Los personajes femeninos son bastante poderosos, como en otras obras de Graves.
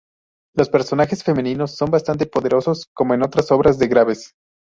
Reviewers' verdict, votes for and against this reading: rejected, 2, 2